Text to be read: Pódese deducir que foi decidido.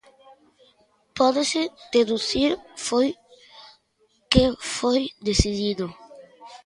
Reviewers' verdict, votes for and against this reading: rejected, 0, 2